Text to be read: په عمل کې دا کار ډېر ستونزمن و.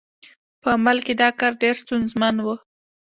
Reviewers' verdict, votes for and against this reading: accepted, 2, 0